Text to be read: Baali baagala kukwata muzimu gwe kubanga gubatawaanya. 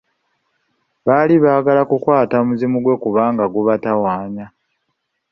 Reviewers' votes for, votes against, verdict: 4, 0, accepted